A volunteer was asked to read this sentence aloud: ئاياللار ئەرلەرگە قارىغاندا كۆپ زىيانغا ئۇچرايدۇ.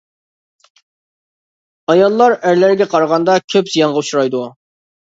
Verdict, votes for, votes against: accepted, 2, 0